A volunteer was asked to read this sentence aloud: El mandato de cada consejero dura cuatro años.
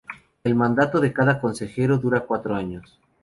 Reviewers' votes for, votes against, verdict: 2, 0, accepted